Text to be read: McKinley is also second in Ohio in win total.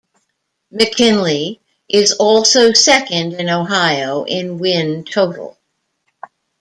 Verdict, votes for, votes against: accepted, 2, 0